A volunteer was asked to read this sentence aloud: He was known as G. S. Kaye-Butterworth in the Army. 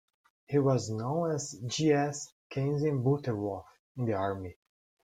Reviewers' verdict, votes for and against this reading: rejected, 0, 2